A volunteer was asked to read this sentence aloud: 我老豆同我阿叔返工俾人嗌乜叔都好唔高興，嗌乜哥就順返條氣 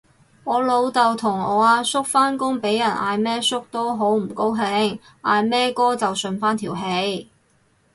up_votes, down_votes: 2, 2